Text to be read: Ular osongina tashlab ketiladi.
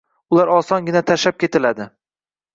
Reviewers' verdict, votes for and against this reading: rejected, 1, 2